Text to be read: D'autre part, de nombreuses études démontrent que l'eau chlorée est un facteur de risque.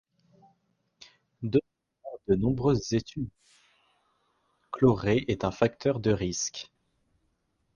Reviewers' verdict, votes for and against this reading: rejected, 0, 2